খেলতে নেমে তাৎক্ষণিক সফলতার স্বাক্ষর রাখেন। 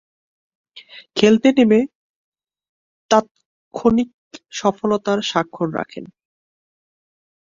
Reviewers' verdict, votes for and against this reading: rejected, 1, 3